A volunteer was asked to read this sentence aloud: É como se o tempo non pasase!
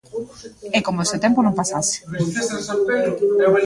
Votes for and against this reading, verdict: 0, 2, rejected